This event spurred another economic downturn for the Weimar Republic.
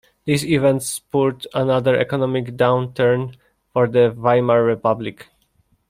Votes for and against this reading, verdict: 2, 0, accepted